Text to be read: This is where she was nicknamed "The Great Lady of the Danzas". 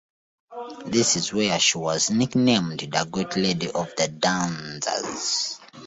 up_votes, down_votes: 2, 0